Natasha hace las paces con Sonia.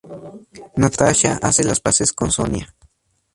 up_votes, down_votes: 2, 0